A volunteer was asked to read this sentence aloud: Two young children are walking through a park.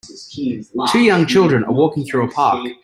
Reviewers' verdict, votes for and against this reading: rejected, 1, 2